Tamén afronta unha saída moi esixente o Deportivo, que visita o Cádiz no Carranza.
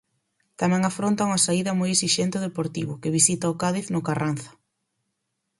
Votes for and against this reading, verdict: 4, 0, accepted